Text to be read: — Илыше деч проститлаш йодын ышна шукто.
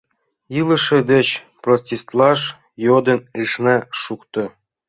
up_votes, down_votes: 0, 2